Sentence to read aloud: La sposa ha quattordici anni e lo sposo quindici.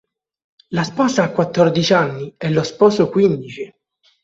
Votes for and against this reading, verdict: 3, 0, accepted